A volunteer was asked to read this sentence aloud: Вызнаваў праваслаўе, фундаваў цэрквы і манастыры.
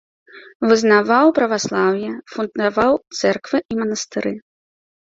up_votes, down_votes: 1, 2